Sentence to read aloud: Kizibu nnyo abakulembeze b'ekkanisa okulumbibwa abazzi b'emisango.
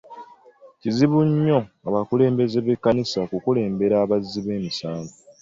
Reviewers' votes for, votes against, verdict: 2, 1, accepted